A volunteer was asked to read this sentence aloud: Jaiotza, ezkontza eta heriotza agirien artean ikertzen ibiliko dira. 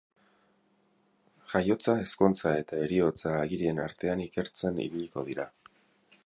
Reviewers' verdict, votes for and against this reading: accepted, 6, 0